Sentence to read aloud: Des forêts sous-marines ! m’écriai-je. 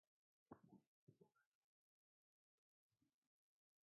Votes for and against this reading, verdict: 1, 2, rejected